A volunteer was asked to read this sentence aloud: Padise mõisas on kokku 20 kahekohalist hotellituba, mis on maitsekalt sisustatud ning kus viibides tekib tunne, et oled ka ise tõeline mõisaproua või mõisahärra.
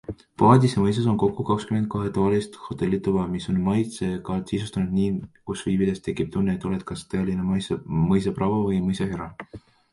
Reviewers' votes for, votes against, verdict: 0, 2, rejected